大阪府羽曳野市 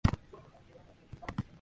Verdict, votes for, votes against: rejected, 1, 2